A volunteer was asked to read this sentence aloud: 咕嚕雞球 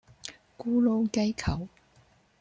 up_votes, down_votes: 2, 0